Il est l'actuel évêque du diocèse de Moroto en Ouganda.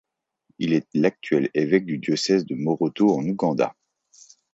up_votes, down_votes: 2, 0